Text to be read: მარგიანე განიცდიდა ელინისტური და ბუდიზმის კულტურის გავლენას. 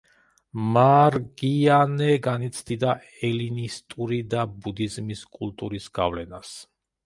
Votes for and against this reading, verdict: 1, 2, rejected